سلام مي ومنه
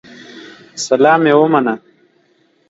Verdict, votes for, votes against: accepted, 2, 0